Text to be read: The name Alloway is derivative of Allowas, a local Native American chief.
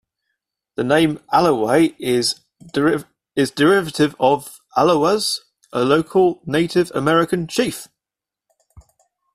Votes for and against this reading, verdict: 0, 2, rejected